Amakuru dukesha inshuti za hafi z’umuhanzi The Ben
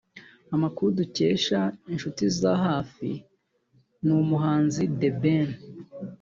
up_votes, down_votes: 0, 2